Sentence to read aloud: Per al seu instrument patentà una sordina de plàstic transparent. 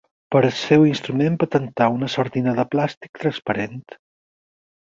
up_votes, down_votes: 0, 4